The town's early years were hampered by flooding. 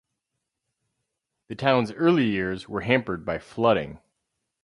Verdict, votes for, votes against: accepted, 4, 0